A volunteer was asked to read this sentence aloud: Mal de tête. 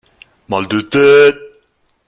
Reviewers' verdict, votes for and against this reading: rejected, 0, 2